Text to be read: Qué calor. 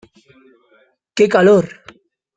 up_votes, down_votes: 2, 0